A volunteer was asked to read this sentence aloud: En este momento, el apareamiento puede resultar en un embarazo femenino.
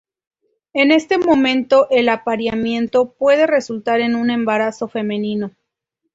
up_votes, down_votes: 2, 0